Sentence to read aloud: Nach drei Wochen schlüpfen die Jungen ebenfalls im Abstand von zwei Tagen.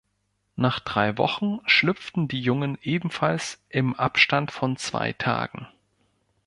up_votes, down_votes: 0, 4